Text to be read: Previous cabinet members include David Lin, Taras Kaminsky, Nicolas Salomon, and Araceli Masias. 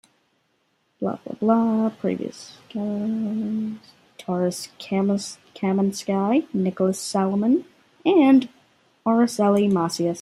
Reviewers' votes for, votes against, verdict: 0, 3, rejected